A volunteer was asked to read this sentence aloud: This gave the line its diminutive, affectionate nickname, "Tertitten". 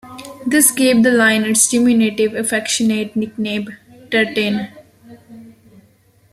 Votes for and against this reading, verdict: 0, 2, rejected